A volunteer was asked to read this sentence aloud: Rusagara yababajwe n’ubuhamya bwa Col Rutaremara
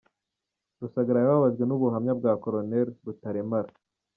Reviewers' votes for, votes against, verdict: 2, 1, accepted